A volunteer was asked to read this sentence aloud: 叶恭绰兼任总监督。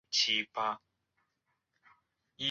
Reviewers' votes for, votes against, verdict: 0, 2, rejected